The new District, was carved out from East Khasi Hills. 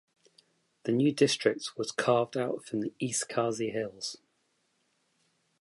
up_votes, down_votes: 2, 0